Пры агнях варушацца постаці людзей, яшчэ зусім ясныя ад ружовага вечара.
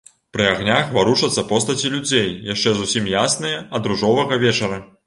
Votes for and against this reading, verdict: 2, 0, accepted